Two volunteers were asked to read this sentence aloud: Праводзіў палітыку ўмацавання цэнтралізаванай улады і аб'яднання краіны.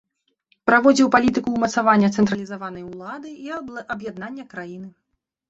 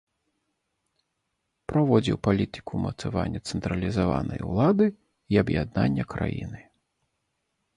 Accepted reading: second